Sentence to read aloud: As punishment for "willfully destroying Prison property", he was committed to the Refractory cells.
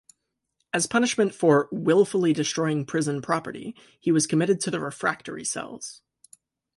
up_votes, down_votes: 2, 0